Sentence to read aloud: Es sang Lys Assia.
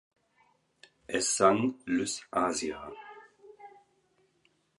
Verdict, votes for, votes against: rejected, 2, 4